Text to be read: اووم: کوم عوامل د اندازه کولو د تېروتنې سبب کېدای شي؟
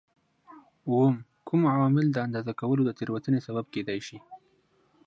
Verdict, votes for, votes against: accepted, 2, 0